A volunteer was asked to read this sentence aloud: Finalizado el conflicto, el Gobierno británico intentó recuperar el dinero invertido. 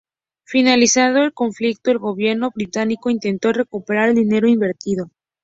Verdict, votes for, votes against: rejected, 0, 2